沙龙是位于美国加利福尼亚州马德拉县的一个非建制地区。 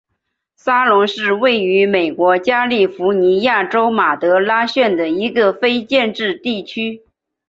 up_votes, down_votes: 2, 1